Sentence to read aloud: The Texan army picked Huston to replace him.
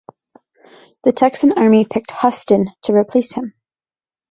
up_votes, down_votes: 1, 2